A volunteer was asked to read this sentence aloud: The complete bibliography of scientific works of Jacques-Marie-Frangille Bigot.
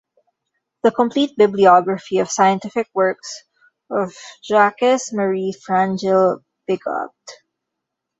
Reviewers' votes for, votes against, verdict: 0, 2, rejected